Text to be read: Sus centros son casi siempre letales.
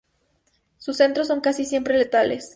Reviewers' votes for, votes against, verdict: 4, 0, accepted